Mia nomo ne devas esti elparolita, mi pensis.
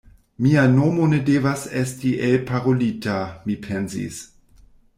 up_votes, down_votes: 1, 2